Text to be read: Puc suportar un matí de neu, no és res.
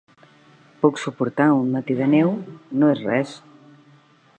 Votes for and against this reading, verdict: 3, 0, accepted